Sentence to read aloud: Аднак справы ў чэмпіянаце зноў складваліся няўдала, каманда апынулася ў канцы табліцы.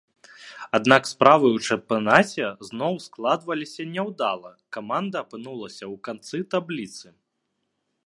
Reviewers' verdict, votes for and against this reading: rejected, 1, 2